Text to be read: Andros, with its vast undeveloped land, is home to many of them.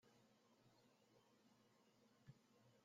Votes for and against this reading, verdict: 0, 2, rejected